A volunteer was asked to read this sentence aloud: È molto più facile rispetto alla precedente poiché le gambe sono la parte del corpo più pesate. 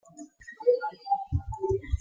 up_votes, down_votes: 1, 2